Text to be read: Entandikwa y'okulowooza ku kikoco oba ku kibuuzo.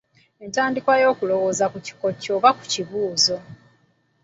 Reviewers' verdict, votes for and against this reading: accepted, 3, 0